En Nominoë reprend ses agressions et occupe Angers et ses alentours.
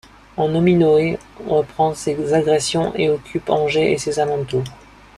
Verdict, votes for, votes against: accepted, 2, 0